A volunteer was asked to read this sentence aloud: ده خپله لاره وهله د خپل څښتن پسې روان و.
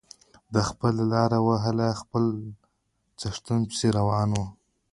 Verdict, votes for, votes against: accepted, 2, 0